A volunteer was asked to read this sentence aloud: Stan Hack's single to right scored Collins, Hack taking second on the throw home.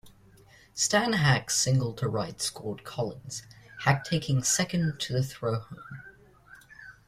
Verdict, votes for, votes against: rejected, 0, 2